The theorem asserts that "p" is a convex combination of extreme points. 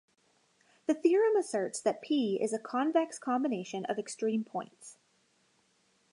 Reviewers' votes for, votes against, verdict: 2, 0, accepted